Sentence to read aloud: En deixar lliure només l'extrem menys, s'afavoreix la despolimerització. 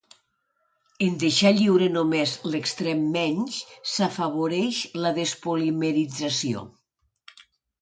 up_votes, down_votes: 2, 1